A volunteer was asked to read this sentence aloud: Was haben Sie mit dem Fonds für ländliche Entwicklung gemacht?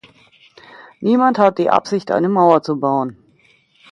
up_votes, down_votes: 0, 2